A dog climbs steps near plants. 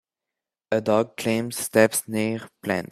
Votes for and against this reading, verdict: 1, 2, rejected